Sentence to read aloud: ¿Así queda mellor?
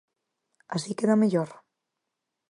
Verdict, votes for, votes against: accepted, 4, 0